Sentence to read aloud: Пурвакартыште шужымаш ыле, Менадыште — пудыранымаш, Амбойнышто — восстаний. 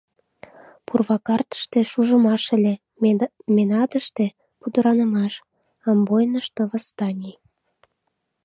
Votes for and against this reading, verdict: 0, 2, rejected